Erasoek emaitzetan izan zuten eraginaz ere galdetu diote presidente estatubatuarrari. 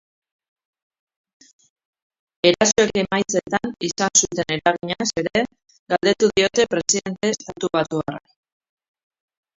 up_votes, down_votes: 0, 2